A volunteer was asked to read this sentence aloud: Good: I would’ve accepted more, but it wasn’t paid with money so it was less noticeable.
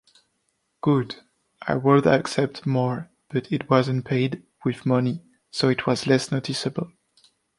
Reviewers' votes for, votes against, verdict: 0, 2, rejected